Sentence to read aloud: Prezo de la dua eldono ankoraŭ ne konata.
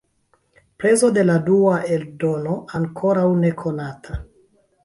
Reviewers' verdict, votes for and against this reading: rejected, 0, 2